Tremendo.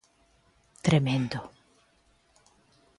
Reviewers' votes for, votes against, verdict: 2, 0, accepted